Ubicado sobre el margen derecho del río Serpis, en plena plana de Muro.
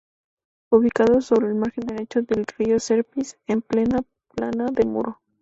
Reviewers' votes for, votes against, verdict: 2, 0, accepted